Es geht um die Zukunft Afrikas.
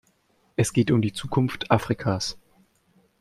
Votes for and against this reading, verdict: 2, 0, accepted